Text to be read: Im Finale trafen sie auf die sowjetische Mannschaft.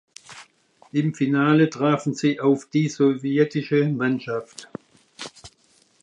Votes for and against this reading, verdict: 2, 1, accepted